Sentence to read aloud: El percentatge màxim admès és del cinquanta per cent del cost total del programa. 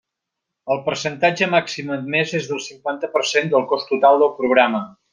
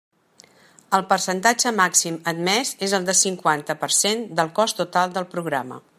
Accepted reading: first